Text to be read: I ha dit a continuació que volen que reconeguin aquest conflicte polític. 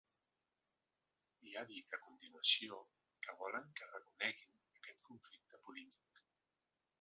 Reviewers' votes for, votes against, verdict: 1, 2, rejected